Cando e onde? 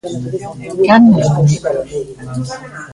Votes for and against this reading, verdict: 0, 2, rejected